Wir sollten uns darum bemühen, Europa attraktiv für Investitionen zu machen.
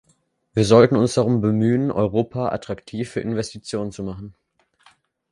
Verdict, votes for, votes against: accepted, 2, 0